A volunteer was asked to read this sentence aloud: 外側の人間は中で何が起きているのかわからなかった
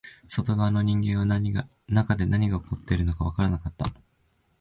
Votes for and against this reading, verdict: 2, 0, accepted